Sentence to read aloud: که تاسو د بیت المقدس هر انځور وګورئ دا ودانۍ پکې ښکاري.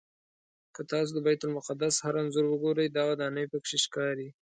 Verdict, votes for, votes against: accepted, 2, 0